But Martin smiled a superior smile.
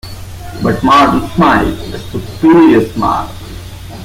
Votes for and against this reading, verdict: 0, 2, rejected